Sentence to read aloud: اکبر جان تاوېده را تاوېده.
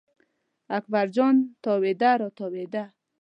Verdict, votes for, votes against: accepted, 2, 0